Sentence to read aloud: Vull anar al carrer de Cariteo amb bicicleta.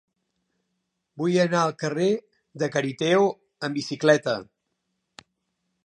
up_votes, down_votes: 3, 0